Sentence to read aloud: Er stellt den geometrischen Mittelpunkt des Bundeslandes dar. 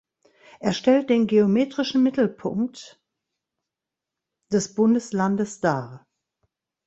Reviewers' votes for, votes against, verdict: 1, 2, rejected